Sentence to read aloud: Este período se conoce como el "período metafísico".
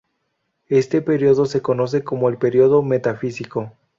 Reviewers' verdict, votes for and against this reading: accepted, 2, 0